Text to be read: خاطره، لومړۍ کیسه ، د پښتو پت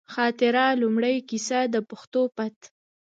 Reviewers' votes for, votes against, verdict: 3, 1, accepted